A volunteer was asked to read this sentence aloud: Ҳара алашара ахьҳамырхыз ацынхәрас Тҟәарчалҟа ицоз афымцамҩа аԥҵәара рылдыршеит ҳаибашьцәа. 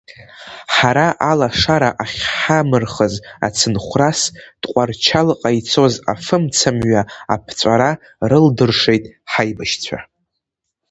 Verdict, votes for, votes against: accepted, 2, 0